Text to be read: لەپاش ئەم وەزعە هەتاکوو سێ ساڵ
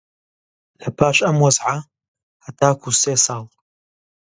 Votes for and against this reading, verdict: 2, 0, accepted